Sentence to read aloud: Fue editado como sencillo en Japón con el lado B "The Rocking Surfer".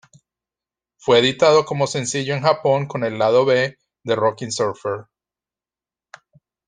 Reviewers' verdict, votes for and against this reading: accepted, 2, 0